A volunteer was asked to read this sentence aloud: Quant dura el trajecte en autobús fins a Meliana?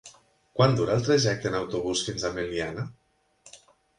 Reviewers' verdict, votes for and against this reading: accepted, 7, 0